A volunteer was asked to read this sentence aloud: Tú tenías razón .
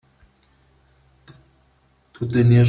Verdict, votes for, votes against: rejected, 0, 3